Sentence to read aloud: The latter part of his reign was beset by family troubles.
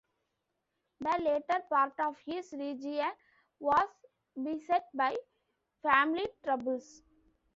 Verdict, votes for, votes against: rejected, 0, 2